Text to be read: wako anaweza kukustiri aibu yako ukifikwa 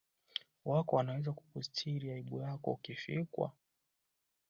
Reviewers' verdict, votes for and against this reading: accepted, 2, 1